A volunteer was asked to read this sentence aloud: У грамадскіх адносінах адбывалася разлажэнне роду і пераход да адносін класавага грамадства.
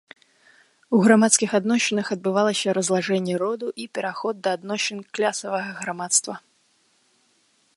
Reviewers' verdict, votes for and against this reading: rejected, 2, 3